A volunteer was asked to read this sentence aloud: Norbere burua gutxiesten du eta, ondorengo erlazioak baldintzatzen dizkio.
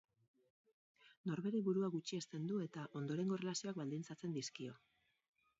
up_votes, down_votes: 0, 2